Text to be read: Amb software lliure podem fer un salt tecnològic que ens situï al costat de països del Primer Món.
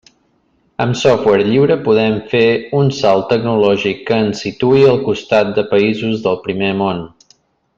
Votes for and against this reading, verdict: 3, 0, accepted